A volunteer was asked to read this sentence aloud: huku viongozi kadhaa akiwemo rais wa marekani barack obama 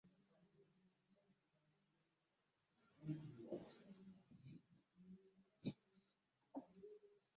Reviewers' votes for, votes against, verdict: 0, 2, rejected